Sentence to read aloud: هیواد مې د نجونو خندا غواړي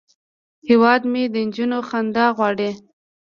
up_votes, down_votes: 2, 0